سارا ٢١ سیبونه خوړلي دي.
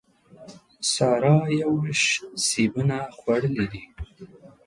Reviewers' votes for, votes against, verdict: 0, 2, rejected